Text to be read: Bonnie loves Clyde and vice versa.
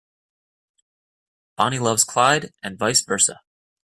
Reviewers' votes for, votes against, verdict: 2, 0, accepted